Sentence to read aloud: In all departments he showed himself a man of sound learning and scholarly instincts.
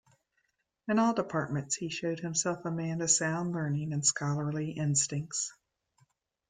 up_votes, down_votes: 3, 0